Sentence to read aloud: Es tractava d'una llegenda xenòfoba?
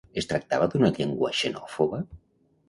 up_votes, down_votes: 1, 2